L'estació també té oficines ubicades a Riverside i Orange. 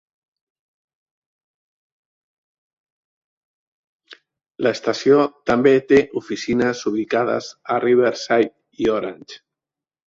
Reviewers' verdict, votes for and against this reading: rejected, 0, 2